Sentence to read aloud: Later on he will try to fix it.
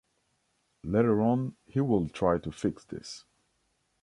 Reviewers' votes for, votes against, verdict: 1, 2, rejected